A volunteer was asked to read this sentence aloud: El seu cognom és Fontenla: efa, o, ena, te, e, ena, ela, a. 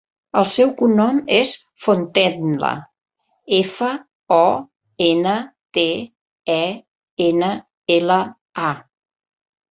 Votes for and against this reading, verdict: 2, 0, accepted